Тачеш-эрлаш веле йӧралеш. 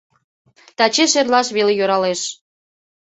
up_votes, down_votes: 2, 0